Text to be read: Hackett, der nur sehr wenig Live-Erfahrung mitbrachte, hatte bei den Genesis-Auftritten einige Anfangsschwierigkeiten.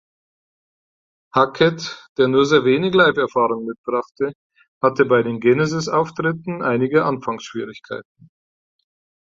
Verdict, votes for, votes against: rejected, 2, 4